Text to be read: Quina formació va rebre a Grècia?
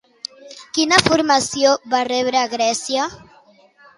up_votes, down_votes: 2, 0